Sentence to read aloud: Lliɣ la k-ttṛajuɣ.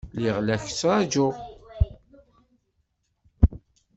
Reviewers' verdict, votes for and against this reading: accepted, 2, 0